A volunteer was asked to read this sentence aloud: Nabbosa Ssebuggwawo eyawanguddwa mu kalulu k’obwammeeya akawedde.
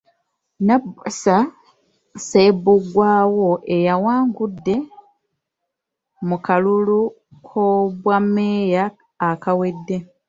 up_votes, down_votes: 0, 2